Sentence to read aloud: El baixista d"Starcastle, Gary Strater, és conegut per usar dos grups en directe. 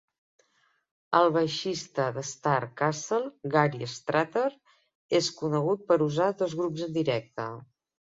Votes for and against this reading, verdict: 2, 0, accepted